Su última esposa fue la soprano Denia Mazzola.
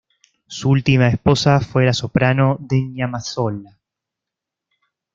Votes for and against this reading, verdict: 2, 0, accepted